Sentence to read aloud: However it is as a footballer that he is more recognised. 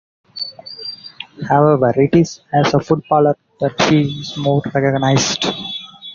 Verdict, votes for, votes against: rejected, 0, 2